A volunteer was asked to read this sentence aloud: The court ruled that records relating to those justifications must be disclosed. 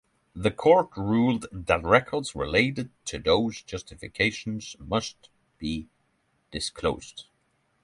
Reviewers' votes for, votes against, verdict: 0, 3, rejected